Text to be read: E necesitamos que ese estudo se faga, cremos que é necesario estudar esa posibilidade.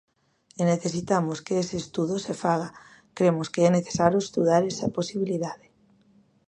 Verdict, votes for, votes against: accepted, 2, 0